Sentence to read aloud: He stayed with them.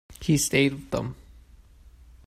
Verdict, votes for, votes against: rejected, 1, 2